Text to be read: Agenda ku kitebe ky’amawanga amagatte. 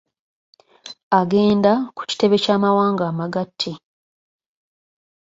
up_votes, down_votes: 2, 0